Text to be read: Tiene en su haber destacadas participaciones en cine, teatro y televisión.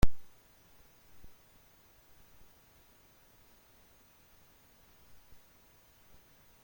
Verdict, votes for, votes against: rejected, 0, 2